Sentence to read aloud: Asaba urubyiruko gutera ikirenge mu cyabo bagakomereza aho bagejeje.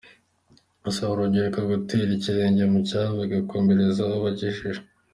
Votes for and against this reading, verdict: 2, 0, accepted